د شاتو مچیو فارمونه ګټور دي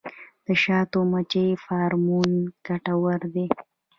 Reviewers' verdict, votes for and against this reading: rejected, 1, 2